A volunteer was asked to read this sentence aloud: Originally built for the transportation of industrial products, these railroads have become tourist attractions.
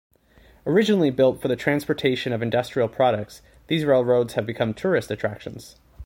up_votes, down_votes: 2, 0